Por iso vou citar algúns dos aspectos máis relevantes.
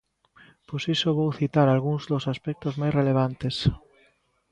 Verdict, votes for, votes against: rejected, 1, 2